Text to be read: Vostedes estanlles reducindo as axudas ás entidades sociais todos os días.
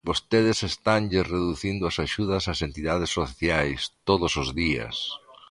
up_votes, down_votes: 2, 0